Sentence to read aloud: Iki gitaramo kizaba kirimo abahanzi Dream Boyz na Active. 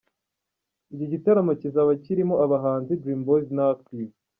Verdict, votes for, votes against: rejected, 1, 3